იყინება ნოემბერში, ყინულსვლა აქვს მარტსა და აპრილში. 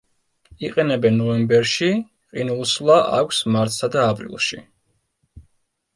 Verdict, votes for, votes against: rejected, 0, 2